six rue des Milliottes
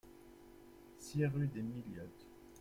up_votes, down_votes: 2, 0